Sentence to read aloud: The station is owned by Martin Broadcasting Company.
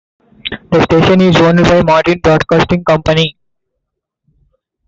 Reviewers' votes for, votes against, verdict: 2, 0, accepted